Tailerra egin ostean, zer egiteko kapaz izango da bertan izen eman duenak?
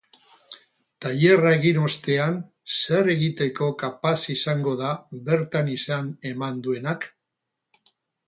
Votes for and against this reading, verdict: 0, 4, rejected